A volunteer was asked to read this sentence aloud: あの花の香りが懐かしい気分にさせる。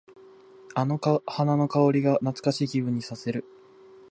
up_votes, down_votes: 2, 0